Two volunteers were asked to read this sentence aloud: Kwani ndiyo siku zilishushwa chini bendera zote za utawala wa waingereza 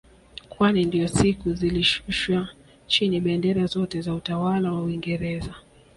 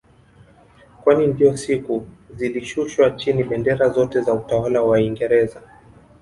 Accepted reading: first